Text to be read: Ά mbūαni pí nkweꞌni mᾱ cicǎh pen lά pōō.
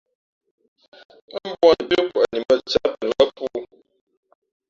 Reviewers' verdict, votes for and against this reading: rejected, 1, 2